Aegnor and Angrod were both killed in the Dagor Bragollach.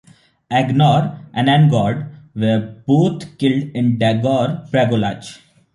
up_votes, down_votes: 0, 2